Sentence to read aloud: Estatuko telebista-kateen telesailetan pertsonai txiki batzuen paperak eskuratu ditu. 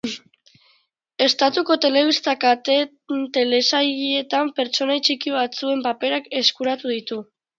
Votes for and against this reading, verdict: 0, 3, rejected